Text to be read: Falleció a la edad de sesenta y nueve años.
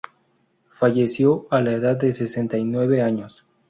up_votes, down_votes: 0, 2